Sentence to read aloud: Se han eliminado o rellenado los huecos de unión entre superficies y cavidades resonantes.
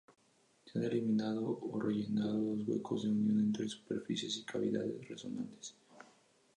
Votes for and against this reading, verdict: 0, 2, rejected